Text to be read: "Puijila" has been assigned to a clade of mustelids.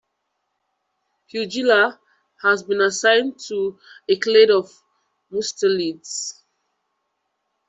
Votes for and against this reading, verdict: 1, 2, rejected